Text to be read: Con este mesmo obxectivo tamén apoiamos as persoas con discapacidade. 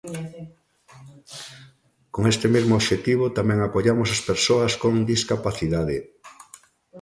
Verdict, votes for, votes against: rejected, 1, 2